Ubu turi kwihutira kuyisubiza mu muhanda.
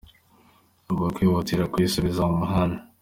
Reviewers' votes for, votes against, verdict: 2, 1, accepted